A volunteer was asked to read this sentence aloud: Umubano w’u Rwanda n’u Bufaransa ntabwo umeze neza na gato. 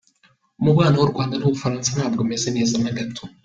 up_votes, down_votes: 2, 0